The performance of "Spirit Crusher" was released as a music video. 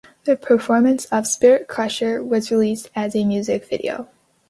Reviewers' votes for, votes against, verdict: 2, 0, accepted